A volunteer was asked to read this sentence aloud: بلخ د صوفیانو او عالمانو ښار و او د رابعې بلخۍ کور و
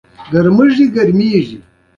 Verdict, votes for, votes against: accepted, 2, 1